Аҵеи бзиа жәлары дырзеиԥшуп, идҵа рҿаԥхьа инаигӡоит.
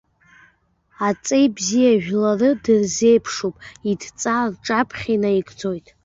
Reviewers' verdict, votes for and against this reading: accepted, 2, 0